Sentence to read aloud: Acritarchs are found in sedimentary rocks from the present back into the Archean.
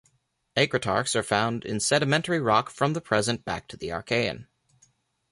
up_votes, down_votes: 2, 0